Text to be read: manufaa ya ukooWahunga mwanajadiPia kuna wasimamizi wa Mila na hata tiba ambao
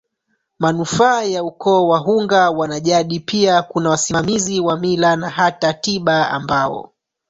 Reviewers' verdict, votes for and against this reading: accepted, 3, 2